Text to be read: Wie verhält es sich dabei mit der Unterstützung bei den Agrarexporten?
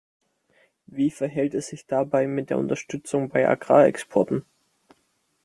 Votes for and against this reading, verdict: 0, 2, rejected